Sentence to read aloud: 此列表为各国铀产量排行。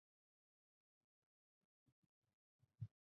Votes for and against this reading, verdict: 1, 4, rejected